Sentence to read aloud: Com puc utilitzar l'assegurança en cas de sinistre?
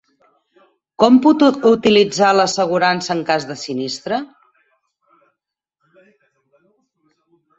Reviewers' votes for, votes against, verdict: 0, 4, rejected